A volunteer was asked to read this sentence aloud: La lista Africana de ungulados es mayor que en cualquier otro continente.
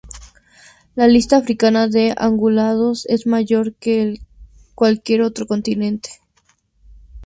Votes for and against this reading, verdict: 0, 2, rejected